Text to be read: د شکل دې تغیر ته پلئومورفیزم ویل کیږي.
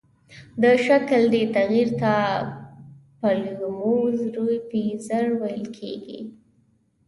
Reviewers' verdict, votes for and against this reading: rejected, 1, 2